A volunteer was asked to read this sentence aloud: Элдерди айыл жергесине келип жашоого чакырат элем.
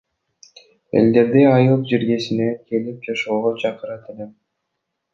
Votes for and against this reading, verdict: 1, 2, rejected